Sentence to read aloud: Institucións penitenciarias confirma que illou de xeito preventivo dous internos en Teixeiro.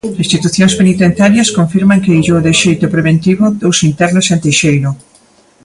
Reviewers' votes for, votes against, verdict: 1, 2, rejected